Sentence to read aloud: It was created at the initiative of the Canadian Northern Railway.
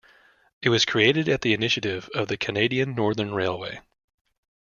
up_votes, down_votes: 2, 0